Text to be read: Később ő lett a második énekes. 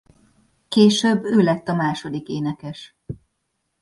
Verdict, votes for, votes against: accepted, 2, 0